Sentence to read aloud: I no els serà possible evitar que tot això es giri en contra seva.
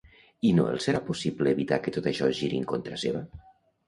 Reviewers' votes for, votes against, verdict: 1, 2, rejected